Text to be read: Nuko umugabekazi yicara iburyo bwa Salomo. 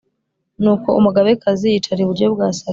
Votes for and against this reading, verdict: 2, 0, accepted